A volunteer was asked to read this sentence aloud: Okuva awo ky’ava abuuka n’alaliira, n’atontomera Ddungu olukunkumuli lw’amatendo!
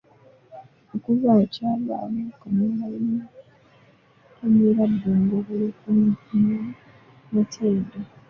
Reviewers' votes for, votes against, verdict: 0, 2, rejected